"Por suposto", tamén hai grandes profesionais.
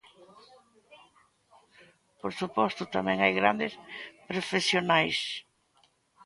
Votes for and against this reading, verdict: 2, 0, accepted